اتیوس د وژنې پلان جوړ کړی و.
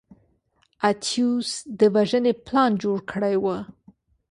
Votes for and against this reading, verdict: 2, 0, accepted